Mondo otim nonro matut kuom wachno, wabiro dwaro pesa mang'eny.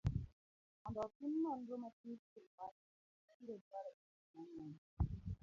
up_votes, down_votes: 0, 3